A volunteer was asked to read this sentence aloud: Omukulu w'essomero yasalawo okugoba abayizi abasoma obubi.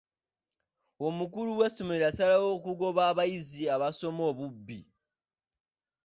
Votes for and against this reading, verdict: 0, 2, rejected